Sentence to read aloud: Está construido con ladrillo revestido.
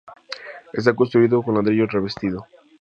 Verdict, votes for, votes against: accepted, 2, 0